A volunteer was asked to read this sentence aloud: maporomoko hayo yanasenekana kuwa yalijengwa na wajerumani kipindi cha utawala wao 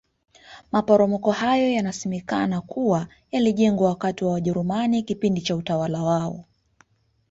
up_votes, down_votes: 2, 0